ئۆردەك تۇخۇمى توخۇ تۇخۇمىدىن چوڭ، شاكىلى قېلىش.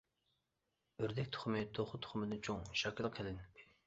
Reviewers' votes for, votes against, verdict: 0, 2, rejected